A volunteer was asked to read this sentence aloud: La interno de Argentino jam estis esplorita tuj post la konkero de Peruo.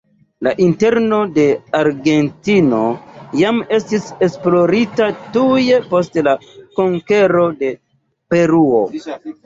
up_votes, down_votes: 2, 0